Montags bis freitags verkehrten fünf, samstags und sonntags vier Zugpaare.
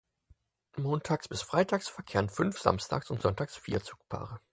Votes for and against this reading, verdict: 4, 0, accepted